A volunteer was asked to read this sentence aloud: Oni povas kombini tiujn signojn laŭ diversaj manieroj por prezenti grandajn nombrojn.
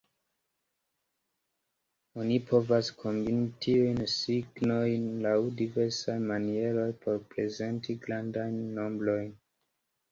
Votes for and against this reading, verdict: 2, 1, accepted